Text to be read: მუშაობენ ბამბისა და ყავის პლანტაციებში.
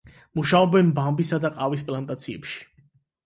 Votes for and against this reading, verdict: 8, 0, accepted